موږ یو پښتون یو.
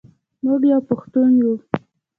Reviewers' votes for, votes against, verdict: 0, 2, rejected